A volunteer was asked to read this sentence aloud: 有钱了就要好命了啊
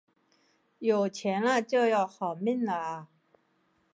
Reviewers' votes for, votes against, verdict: 4, 0, accepted